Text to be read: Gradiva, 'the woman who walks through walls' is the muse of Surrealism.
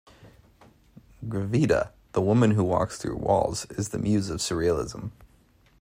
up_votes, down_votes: 0, 2